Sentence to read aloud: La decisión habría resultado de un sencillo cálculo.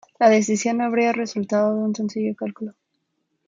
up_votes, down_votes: 0, 2